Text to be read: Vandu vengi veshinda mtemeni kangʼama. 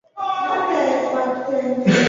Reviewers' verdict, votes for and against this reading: rejected, 1, 2